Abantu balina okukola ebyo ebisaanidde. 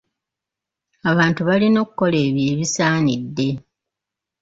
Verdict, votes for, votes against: rejected, 1, 2